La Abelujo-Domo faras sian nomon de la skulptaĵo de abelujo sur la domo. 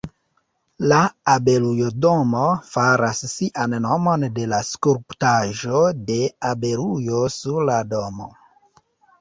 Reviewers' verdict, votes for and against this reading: rejected, 1, 2